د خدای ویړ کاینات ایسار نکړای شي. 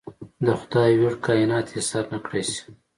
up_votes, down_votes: 2, 0